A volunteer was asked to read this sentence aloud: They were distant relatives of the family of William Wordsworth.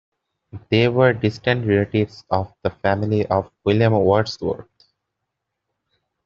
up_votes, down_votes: 0, 2